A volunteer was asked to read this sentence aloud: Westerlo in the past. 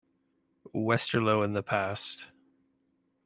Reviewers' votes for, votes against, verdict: 2, 0, accepted